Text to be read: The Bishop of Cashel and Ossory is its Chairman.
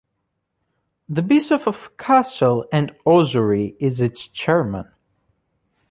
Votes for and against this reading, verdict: 0, 2, rejected